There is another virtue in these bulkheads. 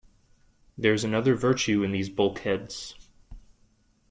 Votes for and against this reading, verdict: 3, 0, accepted